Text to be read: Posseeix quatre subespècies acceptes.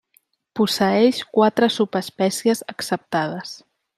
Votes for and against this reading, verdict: 0, 2, rejected